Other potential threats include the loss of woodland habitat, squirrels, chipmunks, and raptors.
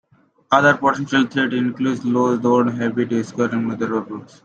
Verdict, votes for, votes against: rejected, 0, 2